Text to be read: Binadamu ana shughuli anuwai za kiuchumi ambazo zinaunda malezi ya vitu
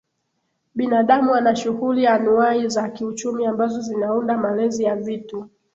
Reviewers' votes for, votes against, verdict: 2, 0, accepted